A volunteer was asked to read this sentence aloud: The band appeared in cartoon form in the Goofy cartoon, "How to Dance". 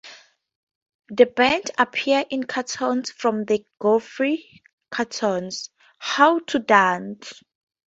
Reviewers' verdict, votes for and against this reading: rejected, 0, 4